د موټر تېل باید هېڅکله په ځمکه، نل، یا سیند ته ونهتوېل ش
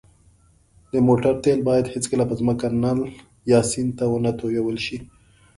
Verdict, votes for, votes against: accepted, 3, 0